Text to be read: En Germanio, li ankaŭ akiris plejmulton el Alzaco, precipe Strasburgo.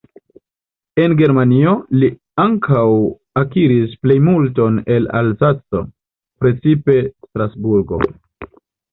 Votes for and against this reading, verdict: 0, 2, rejected